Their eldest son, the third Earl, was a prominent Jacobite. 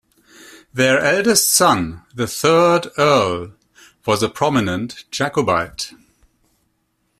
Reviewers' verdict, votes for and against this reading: accepted, 2, 0